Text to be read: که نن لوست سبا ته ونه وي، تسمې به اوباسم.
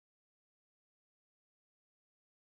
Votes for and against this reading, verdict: 1, 2, rejected